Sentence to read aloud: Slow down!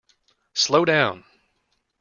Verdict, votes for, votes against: accepted, 2, 0